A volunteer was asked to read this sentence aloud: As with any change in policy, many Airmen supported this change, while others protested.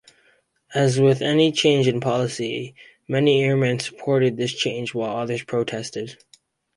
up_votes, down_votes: 4, 0